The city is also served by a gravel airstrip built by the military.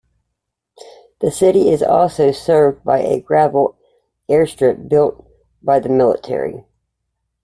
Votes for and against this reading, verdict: 2, 0, accepted